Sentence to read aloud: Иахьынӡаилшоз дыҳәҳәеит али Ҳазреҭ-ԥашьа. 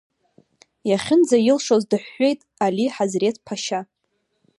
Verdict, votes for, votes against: rejected, 1, 2